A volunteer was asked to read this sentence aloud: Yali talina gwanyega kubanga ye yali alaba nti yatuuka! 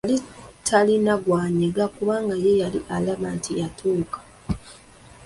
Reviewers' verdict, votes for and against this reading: rejected, 1, 2